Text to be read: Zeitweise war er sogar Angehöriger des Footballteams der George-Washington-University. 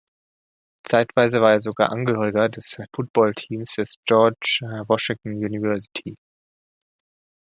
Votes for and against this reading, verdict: 0, 2, rejected